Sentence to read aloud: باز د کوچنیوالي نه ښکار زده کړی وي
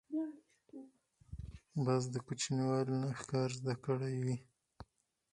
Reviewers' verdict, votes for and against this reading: rejected, 0, 4